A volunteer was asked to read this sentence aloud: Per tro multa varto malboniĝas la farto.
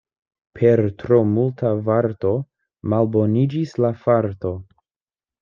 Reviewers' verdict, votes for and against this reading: rejected, 0, 2